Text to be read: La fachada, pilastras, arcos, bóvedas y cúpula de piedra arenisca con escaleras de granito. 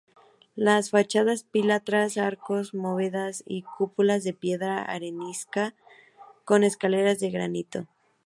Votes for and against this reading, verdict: 0, 2, rejected